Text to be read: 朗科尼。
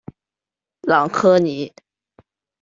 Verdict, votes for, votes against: accepted, 2, 0